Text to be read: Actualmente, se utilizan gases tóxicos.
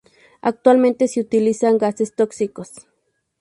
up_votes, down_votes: 4, 0